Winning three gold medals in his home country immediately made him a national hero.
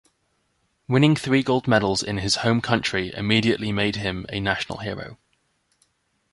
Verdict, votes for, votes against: accepted, 2, 0